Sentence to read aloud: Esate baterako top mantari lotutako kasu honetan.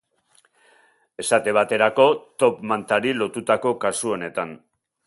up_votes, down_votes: 2, 0